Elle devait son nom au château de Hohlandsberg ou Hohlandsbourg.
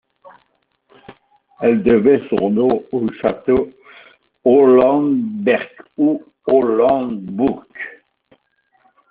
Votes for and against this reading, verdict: 1, 2, rejected